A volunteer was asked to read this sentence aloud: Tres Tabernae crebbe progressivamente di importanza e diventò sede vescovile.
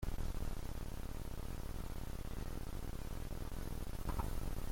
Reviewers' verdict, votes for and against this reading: rejected, 0, 2